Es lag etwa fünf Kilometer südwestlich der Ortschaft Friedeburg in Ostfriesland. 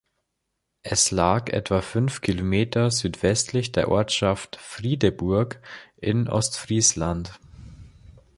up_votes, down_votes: 2, 0